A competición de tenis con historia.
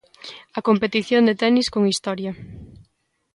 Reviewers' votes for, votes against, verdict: 2, 0, accepted